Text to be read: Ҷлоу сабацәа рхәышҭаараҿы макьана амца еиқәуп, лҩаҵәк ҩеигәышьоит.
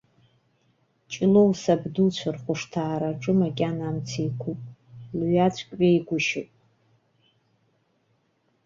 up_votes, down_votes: 1, 2